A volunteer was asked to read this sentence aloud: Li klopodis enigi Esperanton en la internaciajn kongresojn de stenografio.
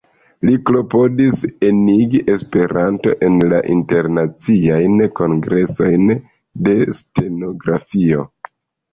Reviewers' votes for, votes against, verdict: 0, 2, rejected